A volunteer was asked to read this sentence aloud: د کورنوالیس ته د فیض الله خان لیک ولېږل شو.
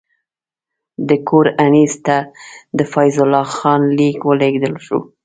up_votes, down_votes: 0, 2